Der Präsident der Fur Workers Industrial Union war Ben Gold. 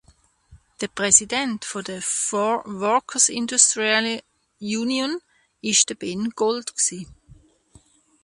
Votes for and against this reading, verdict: 1, 2, rejected